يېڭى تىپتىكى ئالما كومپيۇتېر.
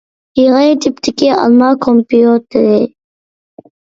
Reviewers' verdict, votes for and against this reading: accepted, 2, 0